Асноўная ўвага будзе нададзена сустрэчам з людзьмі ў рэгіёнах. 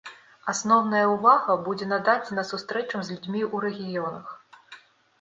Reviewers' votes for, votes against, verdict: 1, 2, rejected